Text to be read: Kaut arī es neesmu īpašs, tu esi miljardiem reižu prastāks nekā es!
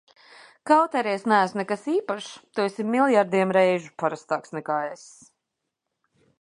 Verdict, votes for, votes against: rejected, 0, 2